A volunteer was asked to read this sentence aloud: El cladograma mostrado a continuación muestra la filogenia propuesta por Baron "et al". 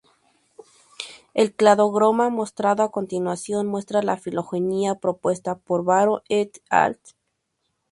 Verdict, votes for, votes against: rejected, 0, 2